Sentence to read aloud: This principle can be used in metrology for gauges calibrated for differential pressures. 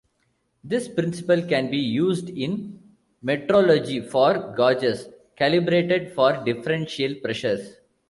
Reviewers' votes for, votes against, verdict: 2, 1, accepted